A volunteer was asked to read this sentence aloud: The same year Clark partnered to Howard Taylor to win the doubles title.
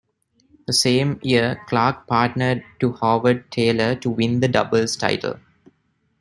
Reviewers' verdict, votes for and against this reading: rejected, 1, 2